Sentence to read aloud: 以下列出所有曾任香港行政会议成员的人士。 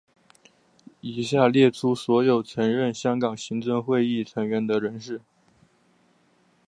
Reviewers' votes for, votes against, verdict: 2, 0, accepted